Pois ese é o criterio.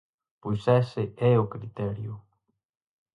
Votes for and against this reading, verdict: 4, 0, accepted